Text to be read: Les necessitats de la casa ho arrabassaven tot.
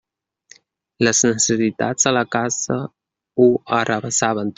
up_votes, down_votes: 0, 2